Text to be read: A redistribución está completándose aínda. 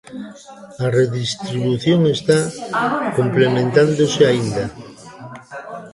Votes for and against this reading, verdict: 0, 2, rejected